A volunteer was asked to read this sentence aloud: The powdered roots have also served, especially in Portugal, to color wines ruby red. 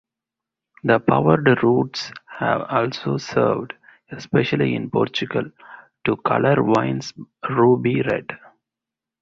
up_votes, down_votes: 0, 2